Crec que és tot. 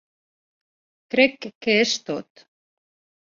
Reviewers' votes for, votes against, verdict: 1, 2, rejected